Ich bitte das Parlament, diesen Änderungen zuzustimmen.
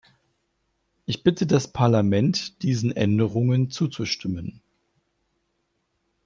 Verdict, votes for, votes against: accepted, 2, 0